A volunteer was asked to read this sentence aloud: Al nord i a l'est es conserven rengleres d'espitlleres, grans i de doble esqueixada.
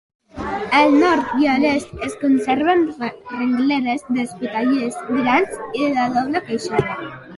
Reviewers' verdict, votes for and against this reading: rejected, 1, 2